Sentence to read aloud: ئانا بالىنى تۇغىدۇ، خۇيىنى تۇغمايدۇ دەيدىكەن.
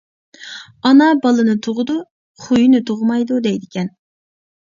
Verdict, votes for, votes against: accepted, 2, 0